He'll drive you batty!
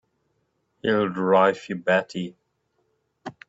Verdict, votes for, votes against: accepted, 2, 0